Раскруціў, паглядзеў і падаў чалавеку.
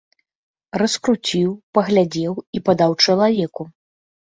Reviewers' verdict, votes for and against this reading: accepted, 2, 0